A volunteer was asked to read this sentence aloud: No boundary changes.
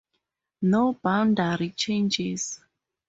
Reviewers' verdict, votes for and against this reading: rejected, 2, 2